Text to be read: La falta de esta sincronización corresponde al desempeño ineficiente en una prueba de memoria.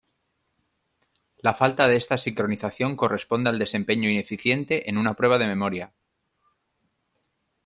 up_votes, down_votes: 2, 0